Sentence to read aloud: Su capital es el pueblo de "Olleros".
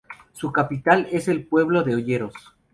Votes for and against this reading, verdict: 4, 2, accepted